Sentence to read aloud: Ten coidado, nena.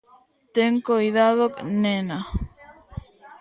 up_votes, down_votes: 2, 0